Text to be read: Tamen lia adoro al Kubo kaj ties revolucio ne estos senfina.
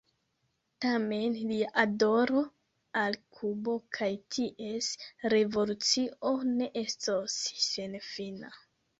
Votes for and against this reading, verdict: 1, 2, rejected